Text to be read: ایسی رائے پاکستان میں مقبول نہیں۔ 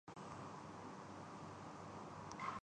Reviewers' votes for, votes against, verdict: 0, 2, rejected